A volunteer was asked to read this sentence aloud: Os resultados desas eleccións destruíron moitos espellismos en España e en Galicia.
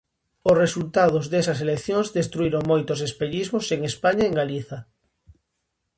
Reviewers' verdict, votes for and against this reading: rejected, 0, 2